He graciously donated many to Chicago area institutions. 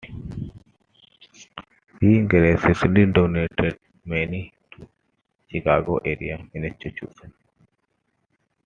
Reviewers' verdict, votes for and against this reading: rejected, 0, 2